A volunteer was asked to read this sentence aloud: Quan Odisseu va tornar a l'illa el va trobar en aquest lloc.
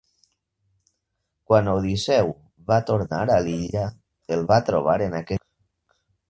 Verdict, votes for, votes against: rejected, 0, 2